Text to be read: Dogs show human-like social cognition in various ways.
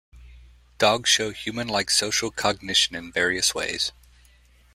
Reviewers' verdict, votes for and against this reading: accepted, 2, 0